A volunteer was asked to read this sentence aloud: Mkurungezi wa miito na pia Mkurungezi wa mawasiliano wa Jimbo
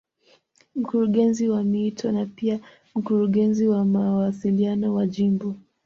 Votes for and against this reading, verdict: 2, 0, accepted